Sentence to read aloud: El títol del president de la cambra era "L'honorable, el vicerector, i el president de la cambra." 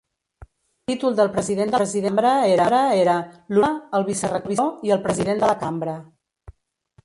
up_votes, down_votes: 0, 2